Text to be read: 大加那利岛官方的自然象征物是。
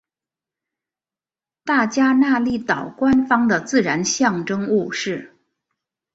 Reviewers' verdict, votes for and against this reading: accepted, 2, 0